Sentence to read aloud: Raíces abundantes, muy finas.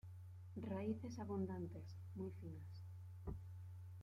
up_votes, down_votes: 2, 0